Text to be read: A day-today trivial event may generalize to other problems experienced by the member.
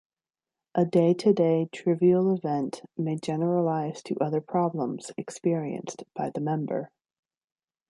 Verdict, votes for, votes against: accepted, 2, 0